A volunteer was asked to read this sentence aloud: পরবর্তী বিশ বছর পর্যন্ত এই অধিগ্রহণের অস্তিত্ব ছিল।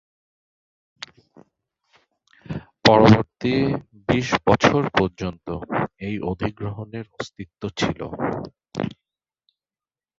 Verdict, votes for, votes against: rejected, 0, 2